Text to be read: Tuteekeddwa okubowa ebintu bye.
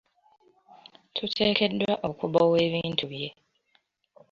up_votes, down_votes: 2, 0